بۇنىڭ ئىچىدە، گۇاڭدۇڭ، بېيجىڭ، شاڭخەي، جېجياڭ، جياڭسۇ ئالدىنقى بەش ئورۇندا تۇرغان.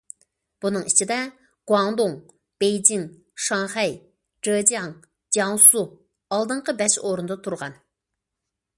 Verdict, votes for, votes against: accepted, 2, 0